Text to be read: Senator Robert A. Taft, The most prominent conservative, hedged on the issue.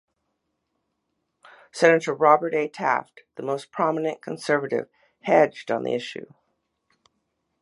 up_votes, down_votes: 2, 0